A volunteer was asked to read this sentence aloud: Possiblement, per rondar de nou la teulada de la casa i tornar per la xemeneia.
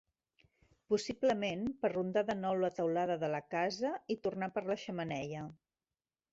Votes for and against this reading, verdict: 1, 2, rejected